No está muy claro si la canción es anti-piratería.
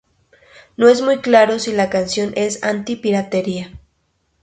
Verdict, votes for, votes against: rejected, 0, 2